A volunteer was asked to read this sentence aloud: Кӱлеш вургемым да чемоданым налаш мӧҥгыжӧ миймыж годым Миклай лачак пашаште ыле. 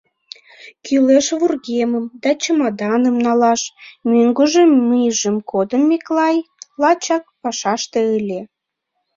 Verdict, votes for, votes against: rejected, 0, 2